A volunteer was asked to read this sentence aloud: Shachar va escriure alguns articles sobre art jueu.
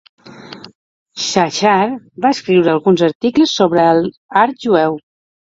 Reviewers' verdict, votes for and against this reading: rejected, 0, 2